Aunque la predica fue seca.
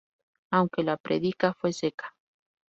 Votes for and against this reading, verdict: 4, 0, accepted